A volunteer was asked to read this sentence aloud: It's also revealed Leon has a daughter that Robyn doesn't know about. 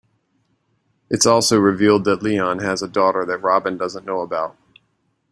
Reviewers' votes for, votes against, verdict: 0, 2, rejected